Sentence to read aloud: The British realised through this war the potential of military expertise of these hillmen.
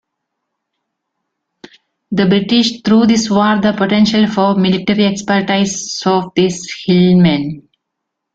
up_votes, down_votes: 0, 2